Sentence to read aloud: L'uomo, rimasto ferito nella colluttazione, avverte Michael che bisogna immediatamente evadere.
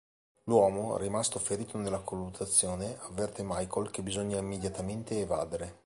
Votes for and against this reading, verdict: 2, 0, accepted